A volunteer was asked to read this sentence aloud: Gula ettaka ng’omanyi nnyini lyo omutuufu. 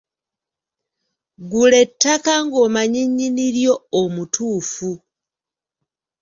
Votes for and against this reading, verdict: 2, 0, accepted